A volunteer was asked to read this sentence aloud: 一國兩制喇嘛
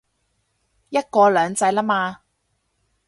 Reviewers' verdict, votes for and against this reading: accepted, 4, 0